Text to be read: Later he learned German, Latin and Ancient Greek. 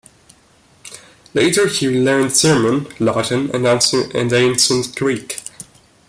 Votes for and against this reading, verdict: 0, 2, rejected